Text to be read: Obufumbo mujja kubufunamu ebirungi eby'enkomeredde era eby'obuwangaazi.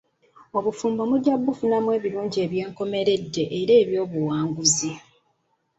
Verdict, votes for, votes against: accepted, 2, 1